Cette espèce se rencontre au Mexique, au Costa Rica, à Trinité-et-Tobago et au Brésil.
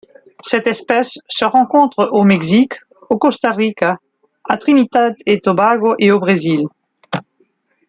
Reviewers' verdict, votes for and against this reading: rejected, 0, 2